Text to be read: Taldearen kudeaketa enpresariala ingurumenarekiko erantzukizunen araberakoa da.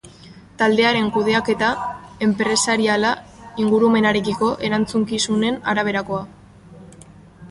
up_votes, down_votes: 0, 2